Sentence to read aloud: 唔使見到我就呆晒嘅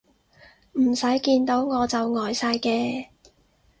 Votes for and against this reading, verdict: 6, 0, accepted